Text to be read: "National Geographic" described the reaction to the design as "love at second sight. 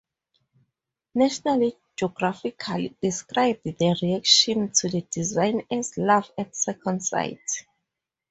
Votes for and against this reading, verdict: 4, 0, accepted